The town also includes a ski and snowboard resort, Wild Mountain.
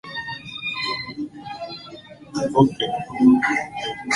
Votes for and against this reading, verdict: 0, 2, rejected